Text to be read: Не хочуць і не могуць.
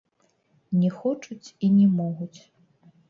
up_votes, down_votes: 1, 2